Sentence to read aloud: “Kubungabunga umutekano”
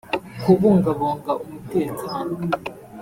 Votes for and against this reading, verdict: 1, 2, rejected